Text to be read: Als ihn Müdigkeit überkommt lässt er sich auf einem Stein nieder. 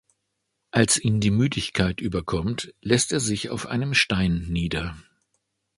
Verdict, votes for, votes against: rejected, 0, 2